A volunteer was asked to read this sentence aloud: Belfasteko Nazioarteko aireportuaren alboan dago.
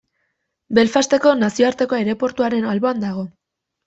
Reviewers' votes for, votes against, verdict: 0, 2, rejected